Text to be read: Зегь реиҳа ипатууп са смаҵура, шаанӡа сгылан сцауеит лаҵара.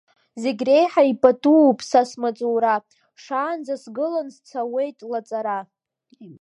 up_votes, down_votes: 2, 0